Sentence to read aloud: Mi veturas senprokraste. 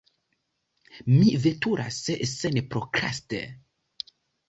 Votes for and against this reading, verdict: 2, 0, accepted